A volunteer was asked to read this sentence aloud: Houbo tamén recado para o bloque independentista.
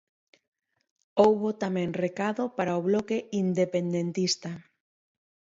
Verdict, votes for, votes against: accepted, 2, 0